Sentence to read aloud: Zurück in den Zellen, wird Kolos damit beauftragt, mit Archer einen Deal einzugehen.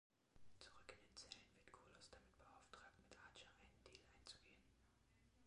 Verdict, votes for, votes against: rejected, 1, 2